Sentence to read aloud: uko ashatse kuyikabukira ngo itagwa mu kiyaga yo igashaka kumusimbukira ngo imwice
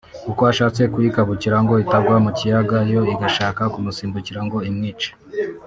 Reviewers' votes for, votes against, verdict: 2, 0, accepted